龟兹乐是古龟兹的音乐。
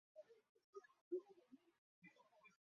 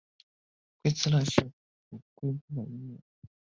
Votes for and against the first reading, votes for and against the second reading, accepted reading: 2, 0, 0, 2, first